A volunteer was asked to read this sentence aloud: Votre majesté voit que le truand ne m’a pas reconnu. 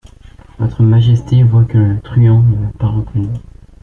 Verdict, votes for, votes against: accepted, 2, 0